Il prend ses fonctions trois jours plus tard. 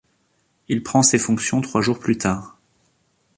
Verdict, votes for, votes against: accepted, 2, 0